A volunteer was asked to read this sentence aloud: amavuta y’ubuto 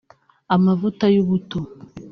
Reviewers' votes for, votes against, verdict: 3, 0, accepted